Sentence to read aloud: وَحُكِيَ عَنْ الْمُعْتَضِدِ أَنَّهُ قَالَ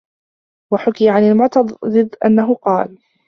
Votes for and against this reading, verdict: 1, 2, rejected